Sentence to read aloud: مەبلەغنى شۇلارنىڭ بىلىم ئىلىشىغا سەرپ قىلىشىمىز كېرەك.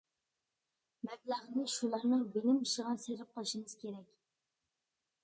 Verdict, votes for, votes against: rejected, 0, 2